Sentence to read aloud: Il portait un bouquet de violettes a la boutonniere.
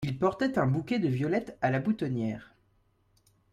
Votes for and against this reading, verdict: 2, 0, accepted